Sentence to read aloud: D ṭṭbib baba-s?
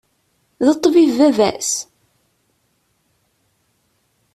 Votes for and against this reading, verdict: 2, 0, accepted